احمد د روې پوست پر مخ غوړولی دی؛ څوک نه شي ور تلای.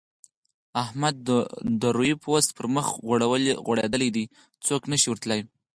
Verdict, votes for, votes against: accepted, 4, 2